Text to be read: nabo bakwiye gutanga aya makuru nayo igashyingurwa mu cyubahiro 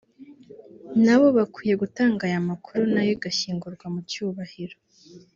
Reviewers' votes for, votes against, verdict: 2, 0, accepted